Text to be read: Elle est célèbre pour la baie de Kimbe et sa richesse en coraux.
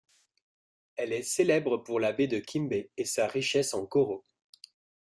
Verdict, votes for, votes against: rejected, 1, 2